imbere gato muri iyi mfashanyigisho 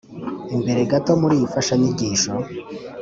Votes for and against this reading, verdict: 2, 0, accepted